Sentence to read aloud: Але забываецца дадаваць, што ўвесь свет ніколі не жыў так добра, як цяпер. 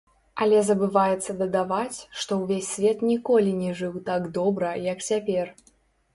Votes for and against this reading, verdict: 0, 2, rejected